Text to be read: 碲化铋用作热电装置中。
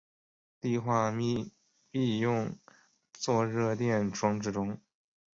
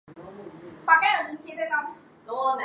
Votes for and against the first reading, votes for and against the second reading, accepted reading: 2, 2, 4, 1, second